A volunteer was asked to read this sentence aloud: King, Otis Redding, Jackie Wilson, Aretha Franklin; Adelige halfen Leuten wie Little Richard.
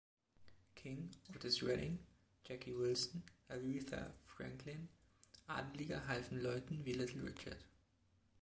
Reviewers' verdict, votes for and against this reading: accepted, 2, 0